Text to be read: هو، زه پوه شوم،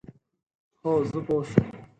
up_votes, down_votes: 4, 0